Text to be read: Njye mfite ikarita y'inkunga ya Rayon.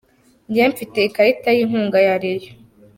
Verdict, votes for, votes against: rejected, 1, 2